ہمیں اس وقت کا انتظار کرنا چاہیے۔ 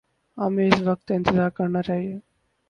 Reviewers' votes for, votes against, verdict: 0, 2, rejected